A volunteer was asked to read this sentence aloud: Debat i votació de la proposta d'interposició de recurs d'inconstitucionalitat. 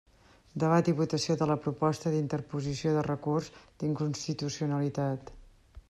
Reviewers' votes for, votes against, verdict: 2, 0, accepted